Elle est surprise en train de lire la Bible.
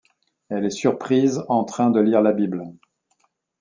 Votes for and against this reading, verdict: 2, 0, accepted